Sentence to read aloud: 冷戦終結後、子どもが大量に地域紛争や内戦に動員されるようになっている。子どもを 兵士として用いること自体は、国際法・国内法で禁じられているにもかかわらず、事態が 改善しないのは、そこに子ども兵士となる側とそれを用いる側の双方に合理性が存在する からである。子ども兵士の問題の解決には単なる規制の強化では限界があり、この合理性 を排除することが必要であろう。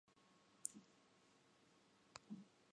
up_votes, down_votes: 0, 2